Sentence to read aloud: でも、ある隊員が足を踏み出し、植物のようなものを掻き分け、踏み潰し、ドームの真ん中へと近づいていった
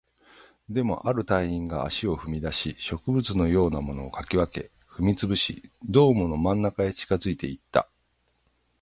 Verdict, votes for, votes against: rejected, 0, 3